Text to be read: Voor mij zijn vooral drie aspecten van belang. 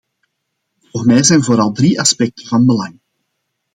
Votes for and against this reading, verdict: 2, 0, accepted